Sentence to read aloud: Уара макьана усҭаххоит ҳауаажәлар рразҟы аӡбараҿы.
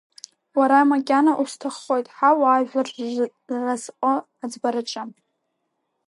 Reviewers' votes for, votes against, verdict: 0, 2, rejected